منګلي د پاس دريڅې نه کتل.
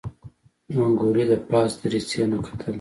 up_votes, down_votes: 2, 0